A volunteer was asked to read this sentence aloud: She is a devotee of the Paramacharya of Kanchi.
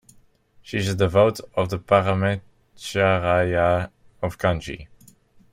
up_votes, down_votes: 1, 2